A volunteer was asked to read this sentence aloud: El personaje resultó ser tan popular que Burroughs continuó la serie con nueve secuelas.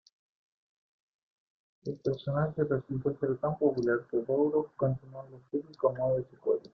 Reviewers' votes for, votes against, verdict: 0, 2, rejected